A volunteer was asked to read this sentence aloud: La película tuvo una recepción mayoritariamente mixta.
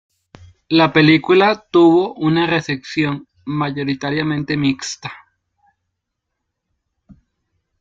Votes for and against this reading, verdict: 2, 0, accepted